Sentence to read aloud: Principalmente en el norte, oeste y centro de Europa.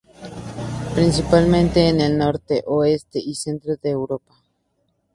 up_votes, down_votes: 2, 0